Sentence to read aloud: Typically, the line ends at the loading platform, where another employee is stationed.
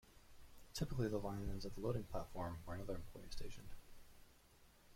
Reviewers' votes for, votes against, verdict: 0, 2, rejected